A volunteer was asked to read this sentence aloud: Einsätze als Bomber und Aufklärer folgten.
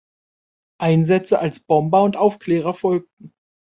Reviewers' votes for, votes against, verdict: 2, 0, accepted